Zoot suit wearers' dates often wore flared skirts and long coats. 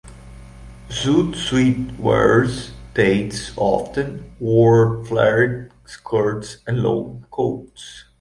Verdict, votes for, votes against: accepted, 2, 1